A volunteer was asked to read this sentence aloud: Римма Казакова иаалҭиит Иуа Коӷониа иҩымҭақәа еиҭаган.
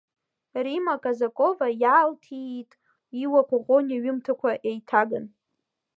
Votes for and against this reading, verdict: 2, 1, accepted